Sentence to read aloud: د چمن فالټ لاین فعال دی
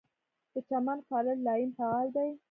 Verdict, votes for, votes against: rejected, 1, 2